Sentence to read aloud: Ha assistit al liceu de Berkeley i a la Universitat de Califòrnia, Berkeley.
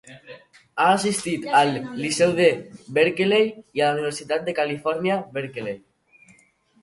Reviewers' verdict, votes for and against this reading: rejected, 0, 2